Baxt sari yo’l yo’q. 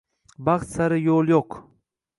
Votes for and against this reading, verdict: 2, 0, accepted